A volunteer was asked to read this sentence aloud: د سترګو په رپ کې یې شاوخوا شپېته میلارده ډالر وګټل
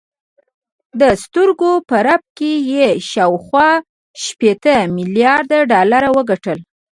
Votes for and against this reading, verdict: 2, 0, accepted